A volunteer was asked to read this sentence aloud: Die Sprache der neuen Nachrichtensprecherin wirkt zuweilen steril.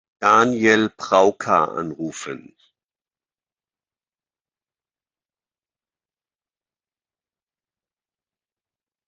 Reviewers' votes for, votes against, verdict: 0, 2, rejected